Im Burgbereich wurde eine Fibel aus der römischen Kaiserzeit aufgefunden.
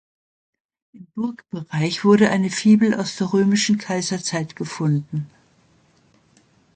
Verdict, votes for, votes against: rejected, 0, 2